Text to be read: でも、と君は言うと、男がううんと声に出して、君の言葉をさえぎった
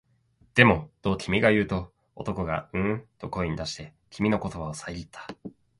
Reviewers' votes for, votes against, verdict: 2, 1, accepted